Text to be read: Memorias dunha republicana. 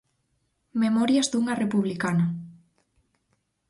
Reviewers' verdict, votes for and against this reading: accepted, 4, 0